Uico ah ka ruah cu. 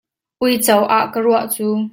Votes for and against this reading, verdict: 2, 0, accepted